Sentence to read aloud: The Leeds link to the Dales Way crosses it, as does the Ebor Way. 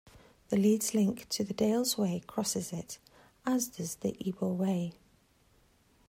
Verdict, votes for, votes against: accepted, 2, 1